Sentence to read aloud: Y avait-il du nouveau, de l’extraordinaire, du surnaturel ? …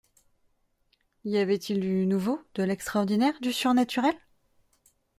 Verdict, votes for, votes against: accepted, 2, 0